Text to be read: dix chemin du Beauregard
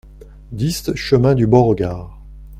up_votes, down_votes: 2, 0